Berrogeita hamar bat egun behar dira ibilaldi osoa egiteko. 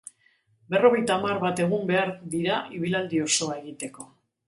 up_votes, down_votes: 2, 5